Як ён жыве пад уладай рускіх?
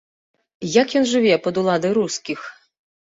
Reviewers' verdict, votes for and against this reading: accepted, 2, 0